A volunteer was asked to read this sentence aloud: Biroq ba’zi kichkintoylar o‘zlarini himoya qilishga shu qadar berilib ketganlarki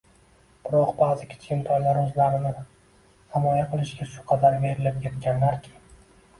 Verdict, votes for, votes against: rejected, 1, 2